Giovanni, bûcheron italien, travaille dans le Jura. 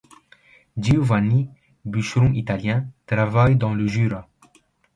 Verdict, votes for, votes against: accepted, 2, 0